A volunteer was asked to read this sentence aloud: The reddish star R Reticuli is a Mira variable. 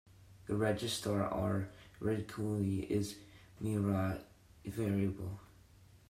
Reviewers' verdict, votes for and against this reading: rejected, 0, 2